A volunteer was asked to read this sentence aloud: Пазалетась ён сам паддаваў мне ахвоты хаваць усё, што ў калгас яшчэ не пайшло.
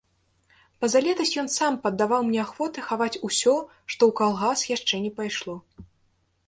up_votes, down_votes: 2, 0